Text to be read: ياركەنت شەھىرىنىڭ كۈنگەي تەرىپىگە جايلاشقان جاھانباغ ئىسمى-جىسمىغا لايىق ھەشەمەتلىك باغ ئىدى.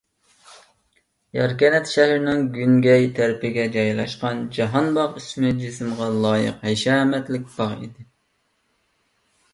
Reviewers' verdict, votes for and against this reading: rejected, 1, 2